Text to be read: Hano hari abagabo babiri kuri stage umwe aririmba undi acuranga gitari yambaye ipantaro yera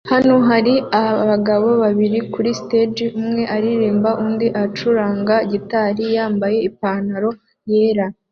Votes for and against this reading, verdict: 2, 0, accepted